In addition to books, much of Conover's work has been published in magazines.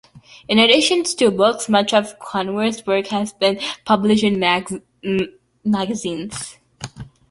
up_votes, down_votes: 0, 2